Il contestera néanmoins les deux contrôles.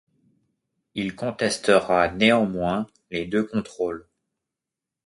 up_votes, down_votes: 2, 0